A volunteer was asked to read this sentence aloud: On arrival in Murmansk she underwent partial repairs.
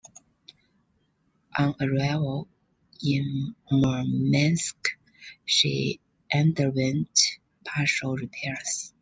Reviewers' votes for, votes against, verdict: 2, 0, accepted